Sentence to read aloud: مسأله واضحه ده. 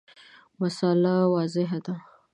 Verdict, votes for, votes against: accepted, 3, 0